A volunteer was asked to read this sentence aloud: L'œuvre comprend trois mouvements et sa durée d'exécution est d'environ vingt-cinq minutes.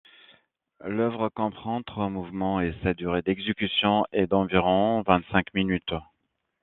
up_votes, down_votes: 2, 0